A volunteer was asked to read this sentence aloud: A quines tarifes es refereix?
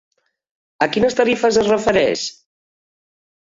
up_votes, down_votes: 4, 0